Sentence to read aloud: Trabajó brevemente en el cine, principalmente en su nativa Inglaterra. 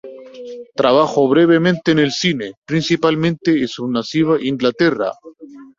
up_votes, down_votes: 2, 4